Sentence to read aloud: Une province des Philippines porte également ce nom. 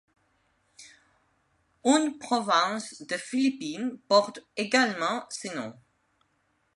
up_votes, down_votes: 2, 0